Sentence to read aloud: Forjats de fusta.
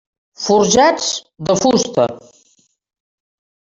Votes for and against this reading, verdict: 3, 0, accepted